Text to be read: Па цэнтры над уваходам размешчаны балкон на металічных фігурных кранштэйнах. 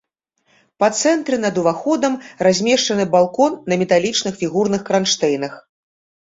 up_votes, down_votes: 2, 0